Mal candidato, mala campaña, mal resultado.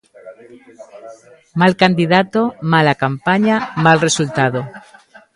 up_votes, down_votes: 1, 2